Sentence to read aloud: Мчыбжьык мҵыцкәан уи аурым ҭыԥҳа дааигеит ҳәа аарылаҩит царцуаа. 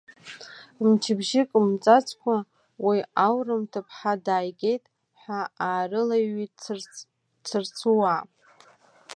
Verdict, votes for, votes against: rejected, 1, 2